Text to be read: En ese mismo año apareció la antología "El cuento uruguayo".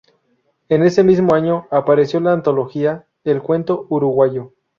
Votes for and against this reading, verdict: 4, 0, accepted